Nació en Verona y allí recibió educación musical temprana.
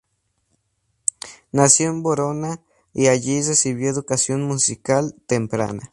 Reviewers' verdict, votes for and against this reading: accepted, 2, 0